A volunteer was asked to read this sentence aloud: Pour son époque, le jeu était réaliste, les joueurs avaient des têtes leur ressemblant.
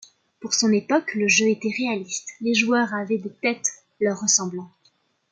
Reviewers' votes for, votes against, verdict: 2, 0, accepted